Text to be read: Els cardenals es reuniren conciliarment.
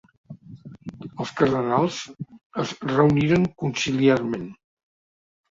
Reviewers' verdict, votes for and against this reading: accepted, 2, 0